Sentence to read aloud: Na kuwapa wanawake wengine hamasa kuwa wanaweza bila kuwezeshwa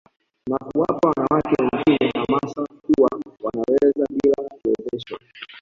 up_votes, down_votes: 0, 2